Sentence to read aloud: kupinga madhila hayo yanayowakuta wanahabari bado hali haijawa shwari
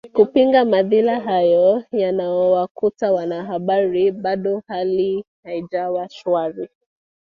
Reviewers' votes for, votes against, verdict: 2, 1, accepted